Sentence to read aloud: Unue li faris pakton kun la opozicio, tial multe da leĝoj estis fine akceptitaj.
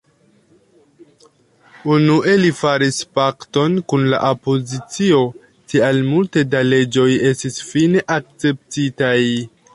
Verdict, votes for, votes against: accepted, 2, 0